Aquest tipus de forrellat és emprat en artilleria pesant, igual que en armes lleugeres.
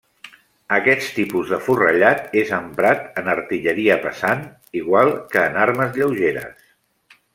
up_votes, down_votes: 0, 2